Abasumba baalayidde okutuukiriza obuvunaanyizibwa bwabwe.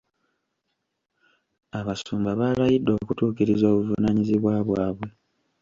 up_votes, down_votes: 1, 2